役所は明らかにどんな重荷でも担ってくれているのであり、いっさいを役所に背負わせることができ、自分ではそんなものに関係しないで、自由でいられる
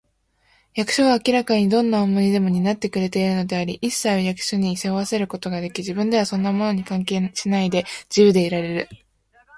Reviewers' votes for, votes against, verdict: 2, 0, accepted